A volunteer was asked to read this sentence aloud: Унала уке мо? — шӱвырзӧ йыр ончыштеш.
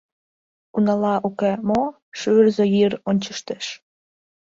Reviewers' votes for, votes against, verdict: 1, 2, rejected